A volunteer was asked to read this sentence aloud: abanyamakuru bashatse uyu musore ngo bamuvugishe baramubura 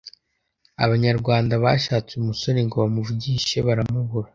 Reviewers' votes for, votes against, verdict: 0, 2, rejected